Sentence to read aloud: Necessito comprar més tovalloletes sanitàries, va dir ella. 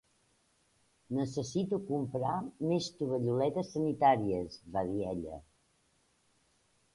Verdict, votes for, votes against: accepted, 2, 0